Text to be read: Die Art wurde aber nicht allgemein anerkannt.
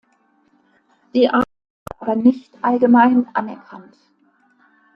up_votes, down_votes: 0, 2